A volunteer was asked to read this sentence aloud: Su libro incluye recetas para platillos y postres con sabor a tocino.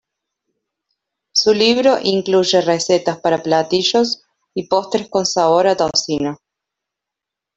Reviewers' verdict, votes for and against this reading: rejected, 0, 2